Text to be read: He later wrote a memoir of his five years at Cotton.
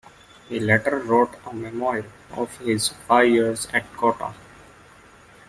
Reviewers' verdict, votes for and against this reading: accepted, 2, 0